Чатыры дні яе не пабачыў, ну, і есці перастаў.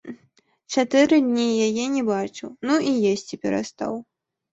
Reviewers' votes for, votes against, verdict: 1, 2, rejected